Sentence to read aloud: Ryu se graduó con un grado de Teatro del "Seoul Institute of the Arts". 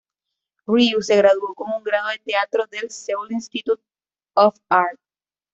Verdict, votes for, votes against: rejected, 1, 2